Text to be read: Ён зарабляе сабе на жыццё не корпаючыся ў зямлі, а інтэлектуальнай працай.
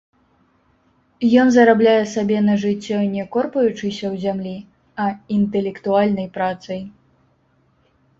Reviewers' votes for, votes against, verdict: 0, 3, rejected